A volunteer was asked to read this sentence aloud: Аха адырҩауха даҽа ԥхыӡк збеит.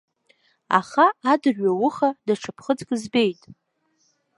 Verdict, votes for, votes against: accepted, 3, 0